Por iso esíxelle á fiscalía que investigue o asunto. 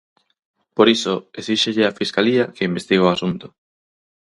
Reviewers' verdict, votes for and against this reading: accepted, 6, 0